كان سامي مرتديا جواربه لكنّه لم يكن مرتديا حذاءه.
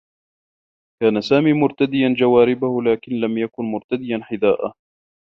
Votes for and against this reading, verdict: 0, 2, rejected